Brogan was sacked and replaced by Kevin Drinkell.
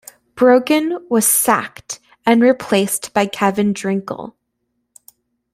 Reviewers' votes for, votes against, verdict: 2, 0, accepted